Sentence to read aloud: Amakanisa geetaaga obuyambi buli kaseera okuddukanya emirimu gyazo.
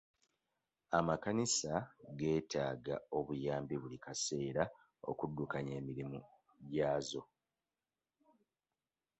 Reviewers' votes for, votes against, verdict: 1, 2, rejected